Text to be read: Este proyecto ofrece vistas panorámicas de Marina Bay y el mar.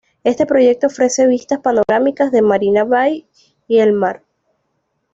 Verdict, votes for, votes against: accepted, 2, 0